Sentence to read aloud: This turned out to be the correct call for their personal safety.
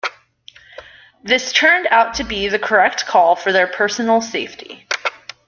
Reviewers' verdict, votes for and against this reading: accepted, 2, 0